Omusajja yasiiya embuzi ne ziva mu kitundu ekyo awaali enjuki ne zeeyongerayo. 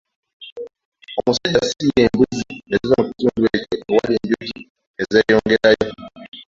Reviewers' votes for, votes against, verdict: 1, 2, rejected